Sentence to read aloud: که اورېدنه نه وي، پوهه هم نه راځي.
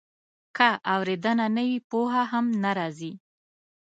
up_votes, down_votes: 2, 0